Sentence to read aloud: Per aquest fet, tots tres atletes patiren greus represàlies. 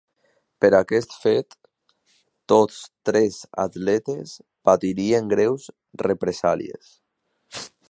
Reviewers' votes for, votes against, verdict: 0, 2, rejected